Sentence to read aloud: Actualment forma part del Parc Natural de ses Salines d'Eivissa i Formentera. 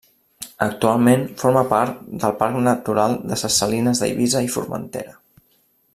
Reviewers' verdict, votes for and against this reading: rejected, 0, 2